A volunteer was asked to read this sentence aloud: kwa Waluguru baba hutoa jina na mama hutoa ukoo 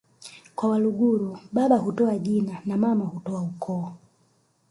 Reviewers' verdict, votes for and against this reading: rejected, 1, 2